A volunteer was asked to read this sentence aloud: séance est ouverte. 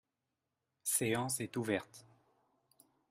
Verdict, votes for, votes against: accepted, 2, 0